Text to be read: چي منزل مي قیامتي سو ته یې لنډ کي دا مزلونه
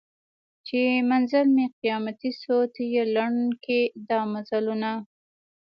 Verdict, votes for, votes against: rejected, 1, 2